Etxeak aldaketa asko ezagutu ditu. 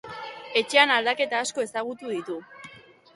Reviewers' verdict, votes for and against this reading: rejected, 1, 2